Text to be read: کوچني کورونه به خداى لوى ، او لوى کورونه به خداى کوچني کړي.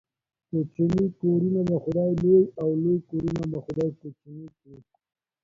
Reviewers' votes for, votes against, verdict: 2, 0, accepted